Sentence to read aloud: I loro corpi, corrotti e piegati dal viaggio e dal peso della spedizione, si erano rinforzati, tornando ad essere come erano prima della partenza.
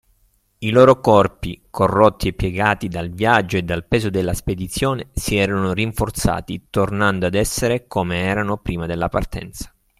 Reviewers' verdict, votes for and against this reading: accepted, 3, 0